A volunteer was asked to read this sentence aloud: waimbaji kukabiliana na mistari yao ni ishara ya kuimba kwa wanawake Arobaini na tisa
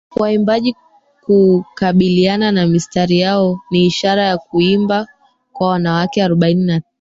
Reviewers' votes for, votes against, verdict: 0, 2, rejected